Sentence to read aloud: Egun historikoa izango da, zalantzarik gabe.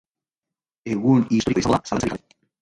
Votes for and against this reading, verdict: 0, 2, rejected